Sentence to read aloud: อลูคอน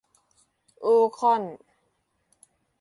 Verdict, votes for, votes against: rejected, 0, 2